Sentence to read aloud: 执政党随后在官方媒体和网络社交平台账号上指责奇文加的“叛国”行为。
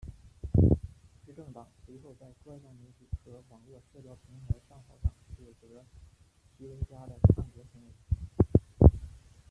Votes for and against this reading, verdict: 0, 2, rejected